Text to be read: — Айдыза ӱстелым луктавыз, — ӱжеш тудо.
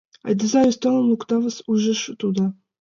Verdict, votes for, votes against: rejected, 1, 2